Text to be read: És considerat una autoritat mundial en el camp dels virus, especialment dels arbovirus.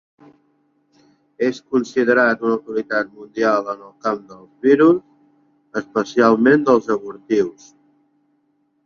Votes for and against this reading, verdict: 0, 2, rejected